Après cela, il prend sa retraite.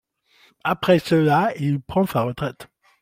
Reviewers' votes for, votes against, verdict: 2, 0, accepted